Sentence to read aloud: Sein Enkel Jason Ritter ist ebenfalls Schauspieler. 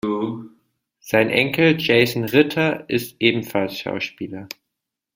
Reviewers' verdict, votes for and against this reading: accepted, 2, 0